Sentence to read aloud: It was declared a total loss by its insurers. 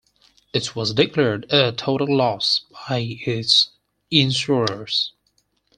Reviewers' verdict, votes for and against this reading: accepted, 4, 0